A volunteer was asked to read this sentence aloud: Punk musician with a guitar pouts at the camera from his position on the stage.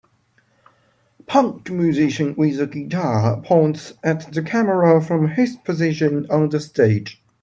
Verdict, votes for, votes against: accepted, 3, 0